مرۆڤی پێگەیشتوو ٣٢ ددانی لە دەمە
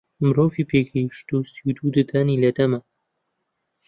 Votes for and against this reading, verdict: 0, 2, rejected